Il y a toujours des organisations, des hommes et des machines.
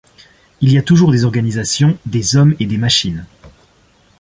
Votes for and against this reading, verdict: 2, 0, accepted